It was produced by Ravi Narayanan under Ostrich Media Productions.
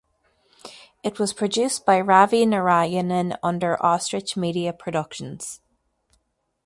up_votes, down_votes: 2, 0